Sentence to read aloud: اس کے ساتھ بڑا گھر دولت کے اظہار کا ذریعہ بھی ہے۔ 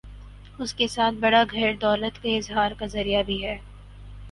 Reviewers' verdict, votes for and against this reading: accepted, 4, 0